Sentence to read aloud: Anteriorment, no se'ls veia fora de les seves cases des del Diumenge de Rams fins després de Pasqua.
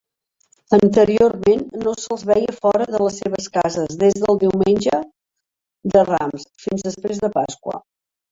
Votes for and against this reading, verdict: 0, 2, rejected